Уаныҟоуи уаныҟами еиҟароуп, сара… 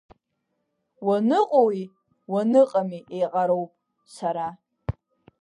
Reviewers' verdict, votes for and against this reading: accepted, 2, 1